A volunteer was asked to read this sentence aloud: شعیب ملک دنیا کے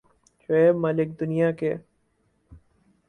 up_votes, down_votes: 4, 0